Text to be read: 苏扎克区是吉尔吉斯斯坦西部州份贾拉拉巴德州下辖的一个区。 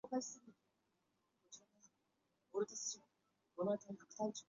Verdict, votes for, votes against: rejected, 1, 5